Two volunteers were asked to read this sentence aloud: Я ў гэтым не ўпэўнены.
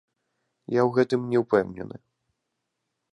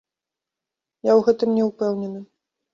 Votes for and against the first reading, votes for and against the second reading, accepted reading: 1, 2, 2, 0, second